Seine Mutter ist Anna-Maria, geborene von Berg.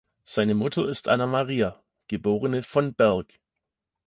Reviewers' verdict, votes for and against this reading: accepted, 2, 0